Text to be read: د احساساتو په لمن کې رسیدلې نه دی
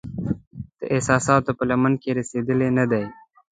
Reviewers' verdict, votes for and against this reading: accepted, 2, 0